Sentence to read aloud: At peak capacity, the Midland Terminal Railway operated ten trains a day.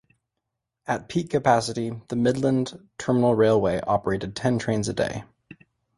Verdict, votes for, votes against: accepted, 2, 0